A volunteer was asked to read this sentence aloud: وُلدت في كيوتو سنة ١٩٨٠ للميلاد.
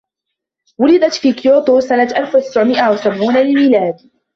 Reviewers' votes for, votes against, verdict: 0, 2, rejected